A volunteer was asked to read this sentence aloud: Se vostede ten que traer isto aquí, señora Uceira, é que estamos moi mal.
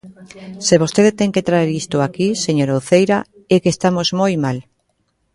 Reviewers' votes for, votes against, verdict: 1, 2, rejected